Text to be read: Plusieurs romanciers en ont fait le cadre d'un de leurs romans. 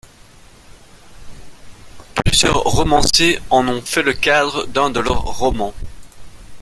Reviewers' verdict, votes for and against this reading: rejected, 1, 2